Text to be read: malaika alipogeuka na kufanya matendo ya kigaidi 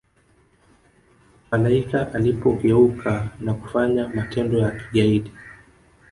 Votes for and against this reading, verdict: 4, 0, accepted